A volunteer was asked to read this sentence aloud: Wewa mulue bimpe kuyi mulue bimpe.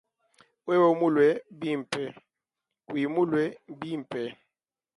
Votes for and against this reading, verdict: 2, 0, accepted